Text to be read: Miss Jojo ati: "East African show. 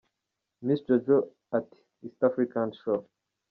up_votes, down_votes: 1, 2